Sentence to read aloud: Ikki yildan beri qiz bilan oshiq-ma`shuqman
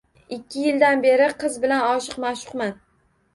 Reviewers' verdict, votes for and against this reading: rejected, 1, 2